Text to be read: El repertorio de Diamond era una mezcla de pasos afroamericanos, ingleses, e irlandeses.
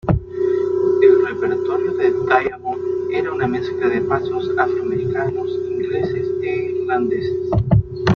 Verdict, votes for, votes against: rejected, 0, 2